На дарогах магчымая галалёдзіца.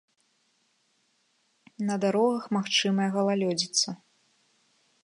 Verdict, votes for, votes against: accepted, 2, 0